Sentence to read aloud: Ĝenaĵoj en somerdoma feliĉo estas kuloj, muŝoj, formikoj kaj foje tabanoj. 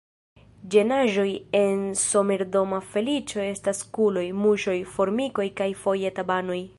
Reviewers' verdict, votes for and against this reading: accepted, 2, 1